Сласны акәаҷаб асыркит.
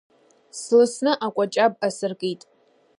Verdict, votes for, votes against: rejected, 1, 2